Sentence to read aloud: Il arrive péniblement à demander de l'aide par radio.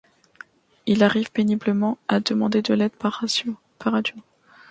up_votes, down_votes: 0, 2